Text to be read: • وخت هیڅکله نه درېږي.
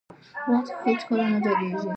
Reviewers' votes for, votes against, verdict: 0, 2, rejected